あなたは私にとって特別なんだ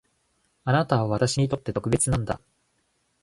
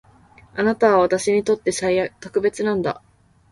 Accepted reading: first